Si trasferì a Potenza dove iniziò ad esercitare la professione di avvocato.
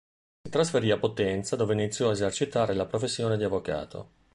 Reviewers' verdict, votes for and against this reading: rejected, 0, 2